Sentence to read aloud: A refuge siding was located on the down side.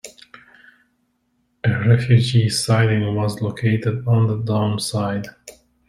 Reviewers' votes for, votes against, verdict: 0, 2, rejected